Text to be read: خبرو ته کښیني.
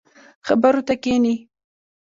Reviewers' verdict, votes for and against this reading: rejected, 0, 2